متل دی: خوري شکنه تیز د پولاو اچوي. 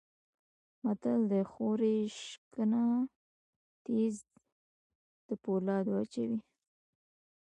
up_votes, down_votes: 2, 0